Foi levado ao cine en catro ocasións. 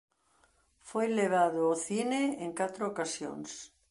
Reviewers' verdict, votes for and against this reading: accepted, 2, 0